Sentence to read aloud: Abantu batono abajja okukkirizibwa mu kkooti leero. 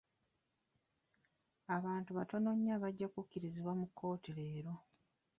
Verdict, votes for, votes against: rejected, 1, 2